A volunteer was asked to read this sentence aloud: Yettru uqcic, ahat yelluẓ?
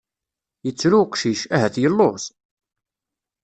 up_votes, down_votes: 2, 0